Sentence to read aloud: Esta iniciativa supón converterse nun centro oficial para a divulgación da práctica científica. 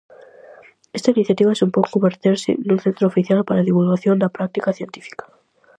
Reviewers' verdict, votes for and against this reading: accepted, 4, 0